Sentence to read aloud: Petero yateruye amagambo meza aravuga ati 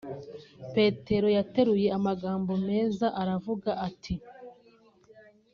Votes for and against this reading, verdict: 2, 0, accepted